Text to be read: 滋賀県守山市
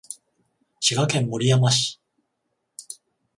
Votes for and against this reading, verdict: 7, 7, rejected